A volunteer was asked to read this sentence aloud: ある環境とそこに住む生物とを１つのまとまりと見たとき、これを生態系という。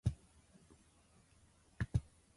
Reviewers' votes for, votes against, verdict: 0, 2, rejected